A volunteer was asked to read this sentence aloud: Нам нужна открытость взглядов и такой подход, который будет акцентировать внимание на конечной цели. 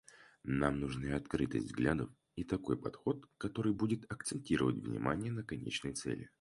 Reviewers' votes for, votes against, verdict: 2, 4, rejected